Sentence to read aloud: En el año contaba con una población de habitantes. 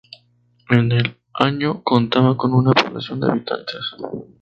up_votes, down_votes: 2, 2